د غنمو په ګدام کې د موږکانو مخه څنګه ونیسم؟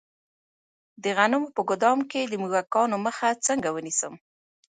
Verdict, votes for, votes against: accepted, 2, 1